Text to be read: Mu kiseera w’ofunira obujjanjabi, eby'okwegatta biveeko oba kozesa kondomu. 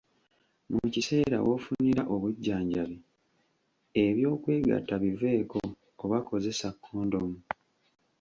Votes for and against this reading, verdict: 2, 0, accepted